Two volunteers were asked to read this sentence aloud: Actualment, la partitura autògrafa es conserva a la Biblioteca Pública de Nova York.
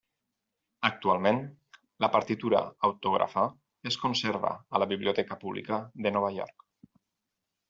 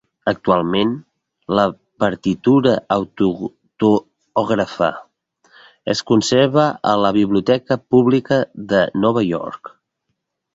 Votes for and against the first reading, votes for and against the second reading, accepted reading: 6, 0, 0, 2, first